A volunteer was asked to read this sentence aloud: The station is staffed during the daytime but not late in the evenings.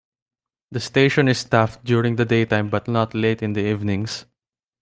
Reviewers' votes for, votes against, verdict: 2, 0, accepted